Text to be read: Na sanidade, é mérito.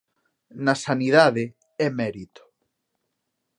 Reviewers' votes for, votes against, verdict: 2, 0, accepted